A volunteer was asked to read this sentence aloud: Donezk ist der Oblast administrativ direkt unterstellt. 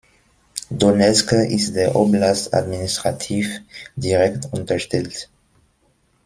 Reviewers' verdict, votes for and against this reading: accepted, 2, 0